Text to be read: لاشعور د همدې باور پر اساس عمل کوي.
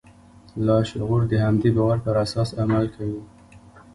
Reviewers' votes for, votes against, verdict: 0, 2, rejected